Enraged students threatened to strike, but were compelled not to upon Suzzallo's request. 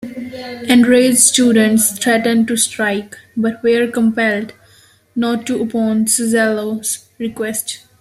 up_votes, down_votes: 2, 0